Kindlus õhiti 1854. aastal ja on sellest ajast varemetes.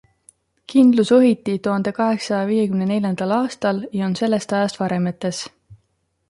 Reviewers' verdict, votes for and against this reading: rejected, 0, 2